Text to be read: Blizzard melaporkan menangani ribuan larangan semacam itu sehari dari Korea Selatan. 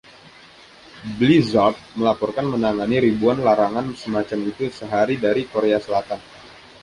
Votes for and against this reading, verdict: 2, 0, accepted